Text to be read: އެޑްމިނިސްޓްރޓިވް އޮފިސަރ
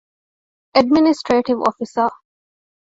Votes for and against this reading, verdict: 2, 0, accepted